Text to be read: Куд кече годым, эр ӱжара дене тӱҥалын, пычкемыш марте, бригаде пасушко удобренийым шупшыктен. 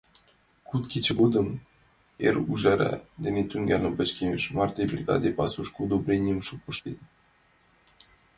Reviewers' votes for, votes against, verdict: 2, 0, accepted